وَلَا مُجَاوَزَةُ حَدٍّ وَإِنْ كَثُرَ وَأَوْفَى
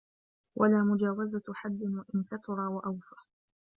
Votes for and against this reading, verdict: 0, 2, rejected